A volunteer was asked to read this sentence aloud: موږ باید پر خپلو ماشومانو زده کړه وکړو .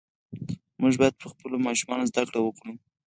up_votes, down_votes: 0, 4